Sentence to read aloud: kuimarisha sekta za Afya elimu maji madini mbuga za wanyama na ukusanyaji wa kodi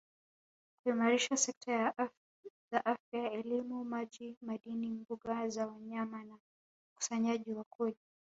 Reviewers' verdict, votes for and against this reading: rejected, 1, 2